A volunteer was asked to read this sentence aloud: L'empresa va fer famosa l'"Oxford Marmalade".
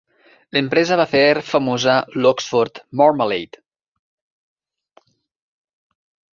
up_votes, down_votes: 2, 0